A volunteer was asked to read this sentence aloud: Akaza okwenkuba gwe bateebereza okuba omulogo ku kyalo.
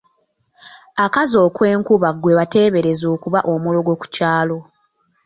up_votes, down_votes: 2, 0